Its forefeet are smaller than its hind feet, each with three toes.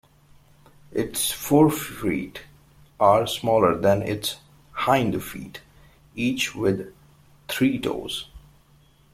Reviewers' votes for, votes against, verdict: 2, 0, accepted